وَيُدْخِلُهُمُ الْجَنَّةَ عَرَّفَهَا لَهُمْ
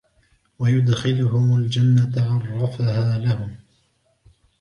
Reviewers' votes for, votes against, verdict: 3, 2, accepted